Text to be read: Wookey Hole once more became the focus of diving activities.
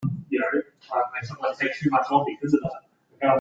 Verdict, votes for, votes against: rejected, 0, 2